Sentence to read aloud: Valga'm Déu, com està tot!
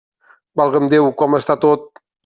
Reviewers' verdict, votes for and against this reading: accepted, 2, 0